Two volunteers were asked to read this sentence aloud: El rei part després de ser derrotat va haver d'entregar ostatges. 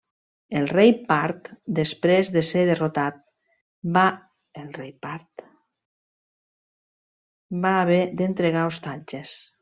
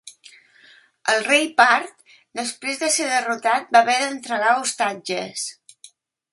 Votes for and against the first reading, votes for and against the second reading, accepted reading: 1, 2, 2, 0, second